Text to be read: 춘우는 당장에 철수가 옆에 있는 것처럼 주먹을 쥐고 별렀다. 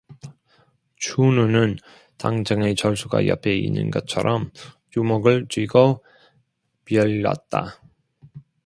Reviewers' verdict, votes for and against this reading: rejected, 1, 2